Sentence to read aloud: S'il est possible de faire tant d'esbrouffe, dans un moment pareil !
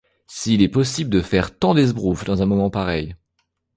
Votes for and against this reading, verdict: 2, 0, accepted